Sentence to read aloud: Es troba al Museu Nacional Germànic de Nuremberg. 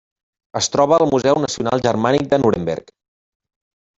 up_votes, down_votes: 3, 0